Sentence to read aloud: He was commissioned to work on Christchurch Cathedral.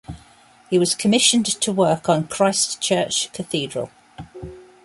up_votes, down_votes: 2, 0